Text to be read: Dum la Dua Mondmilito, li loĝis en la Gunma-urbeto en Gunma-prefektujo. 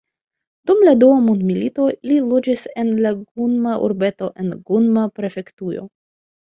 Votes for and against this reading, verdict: 2, 0, accepted